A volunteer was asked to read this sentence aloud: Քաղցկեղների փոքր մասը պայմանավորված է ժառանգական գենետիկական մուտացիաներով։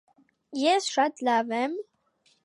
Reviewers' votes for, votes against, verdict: 0, 2, rejected